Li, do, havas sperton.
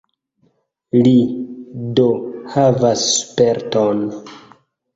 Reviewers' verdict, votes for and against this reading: rejected, 1, 2